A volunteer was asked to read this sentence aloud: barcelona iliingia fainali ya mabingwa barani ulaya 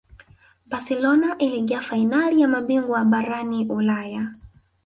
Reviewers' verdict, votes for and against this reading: accepted, 2, 1